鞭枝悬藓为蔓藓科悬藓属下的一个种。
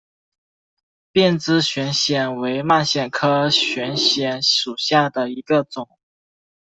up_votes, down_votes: 2, 0